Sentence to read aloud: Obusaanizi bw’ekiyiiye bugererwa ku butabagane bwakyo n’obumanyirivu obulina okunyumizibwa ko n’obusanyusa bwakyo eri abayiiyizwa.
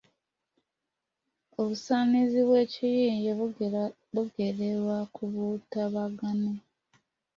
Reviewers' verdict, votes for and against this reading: rejected, 0, 2